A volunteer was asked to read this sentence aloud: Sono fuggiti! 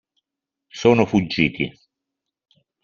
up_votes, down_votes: 2, 0